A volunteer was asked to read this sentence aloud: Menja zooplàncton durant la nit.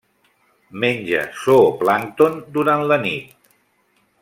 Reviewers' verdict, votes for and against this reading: accepted, 2, 0